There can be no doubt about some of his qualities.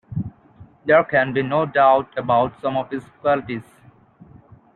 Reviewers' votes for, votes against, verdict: 2, 0, accepted